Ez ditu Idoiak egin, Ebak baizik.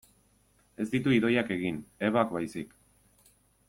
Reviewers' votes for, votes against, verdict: 2, 0, accepted